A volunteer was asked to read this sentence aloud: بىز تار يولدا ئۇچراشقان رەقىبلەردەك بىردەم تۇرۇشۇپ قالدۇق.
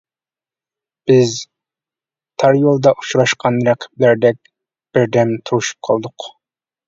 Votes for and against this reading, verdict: 2, 0, accepted